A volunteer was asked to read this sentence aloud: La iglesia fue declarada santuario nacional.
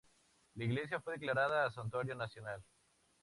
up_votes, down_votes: 2, 0